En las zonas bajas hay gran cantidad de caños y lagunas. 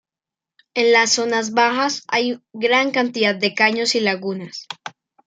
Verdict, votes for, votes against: accepted, 2, 0